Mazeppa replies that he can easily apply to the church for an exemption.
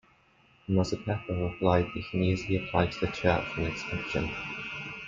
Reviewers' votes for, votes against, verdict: 0, 2, rejected